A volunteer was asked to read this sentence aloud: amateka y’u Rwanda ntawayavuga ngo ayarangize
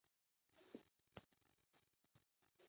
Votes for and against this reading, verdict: 0, 2, rejected